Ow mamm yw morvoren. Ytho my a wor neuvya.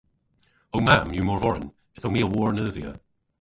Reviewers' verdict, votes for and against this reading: rejected, 0, 2